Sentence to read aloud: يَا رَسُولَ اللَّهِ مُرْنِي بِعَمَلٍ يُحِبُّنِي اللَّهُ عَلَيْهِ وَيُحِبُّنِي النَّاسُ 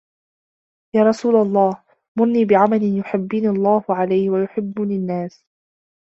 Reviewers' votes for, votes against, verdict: 1, 2, rejected